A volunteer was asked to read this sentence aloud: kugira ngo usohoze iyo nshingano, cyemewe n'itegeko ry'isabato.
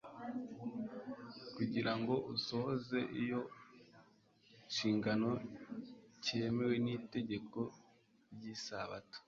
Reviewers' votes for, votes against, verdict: 1, 2, rejected